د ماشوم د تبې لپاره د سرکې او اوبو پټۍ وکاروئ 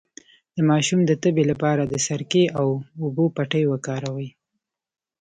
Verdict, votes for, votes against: rejected, 1, 2